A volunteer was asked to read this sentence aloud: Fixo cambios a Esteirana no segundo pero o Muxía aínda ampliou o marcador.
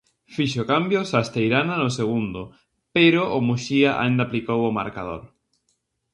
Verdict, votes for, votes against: rejected, 0, 2